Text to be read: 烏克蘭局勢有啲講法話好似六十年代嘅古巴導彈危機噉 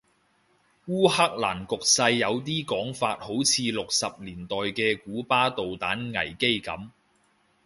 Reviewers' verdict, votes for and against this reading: rejected, 0, 2